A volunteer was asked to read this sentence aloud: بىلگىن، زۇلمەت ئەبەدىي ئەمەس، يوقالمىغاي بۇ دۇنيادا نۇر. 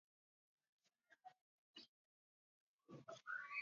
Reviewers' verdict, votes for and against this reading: rejected, 0, 2